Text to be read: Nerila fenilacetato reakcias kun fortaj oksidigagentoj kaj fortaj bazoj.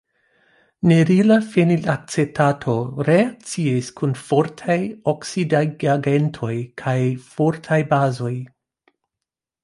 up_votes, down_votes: 1, 2